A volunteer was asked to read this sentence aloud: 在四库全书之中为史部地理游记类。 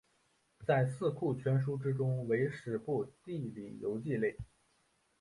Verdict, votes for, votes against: accepted, 3, 0